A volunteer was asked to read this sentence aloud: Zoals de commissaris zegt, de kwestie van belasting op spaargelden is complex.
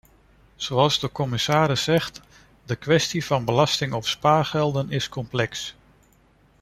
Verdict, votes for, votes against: rejected, 1, 2